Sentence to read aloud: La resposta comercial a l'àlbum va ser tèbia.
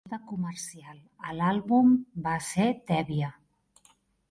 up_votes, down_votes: 0, 2